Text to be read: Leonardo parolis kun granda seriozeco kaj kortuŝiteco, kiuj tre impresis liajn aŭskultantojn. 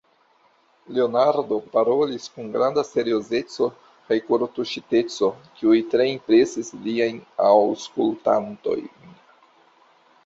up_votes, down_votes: 2, 0